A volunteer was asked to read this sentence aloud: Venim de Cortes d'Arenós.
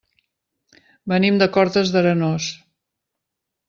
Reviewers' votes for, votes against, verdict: 3, 0, accepted